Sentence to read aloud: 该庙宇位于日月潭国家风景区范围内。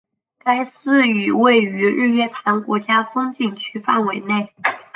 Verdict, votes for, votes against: rejected, 0, 3